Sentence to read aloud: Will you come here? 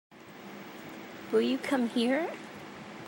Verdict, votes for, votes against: accepted, 2, 0